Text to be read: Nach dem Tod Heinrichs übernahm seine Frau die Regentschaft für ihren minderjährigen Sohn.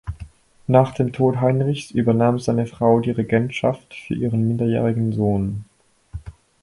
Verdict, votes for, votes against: accepted, 4, 2